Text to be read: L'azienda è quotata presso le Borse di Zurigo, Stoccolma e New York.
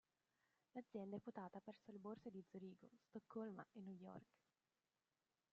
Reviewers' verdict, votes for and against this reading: rejected, 0, 2